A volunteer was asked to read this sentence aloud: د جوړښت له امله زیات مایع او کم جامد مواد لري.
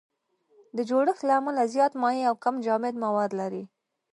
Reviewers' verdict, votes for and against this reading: accepted, 2, 0